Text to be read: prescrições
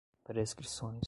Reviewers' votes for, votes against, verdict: 2, 0, accepted